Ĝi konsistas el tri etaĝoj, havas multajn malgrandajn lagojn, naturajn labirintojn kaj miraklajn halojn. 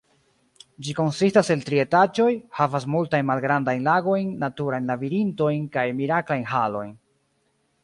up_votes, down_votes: 1, 2